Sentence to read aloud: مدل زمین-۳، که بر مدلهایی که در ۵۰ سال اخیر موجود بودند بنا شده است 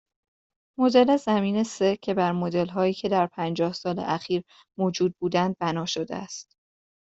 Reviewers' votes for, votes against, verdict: 0, 2, rejected